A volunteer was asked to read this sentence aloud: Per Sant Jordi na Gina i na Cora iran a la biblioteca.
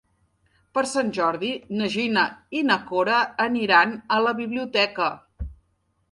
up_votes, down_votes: 1, 2